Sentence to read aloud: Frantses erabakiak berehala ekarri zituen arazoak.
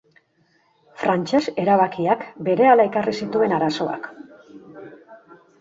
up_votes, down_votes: 2, 0